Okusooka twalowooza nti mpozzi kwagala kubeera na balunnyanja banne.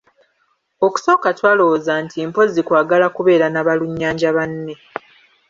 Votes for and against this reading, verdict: 1, 2, rejected